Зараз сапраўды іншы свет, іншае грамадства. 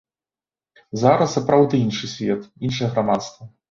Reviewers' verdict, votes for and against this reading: accepted, 2, 0